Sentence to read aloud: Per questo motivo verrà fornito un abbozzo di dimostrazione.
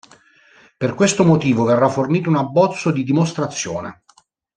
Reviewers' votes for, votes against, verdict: 2, 0, accepted